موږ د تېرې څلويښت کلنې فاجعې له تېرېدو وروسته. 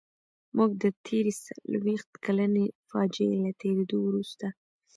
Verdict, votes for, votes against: rejected, 0, 2